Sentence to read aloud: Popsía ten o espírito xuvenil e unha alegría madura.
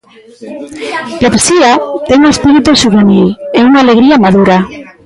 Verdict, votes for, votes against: accepted, 2, 1